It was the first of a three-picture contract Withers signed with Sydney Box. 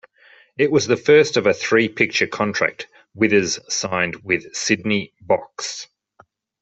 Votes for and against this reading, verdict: 3, 0, accepted